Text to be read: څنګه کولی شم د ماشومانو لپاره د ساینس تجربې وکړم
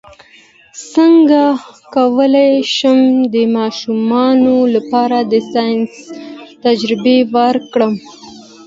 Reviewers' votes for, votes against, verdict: 2, 0, accepted